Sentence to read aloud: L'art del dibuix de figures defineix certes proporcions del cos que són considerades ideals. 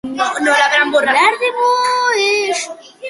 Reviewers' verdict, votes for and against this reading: rejected, 0, 2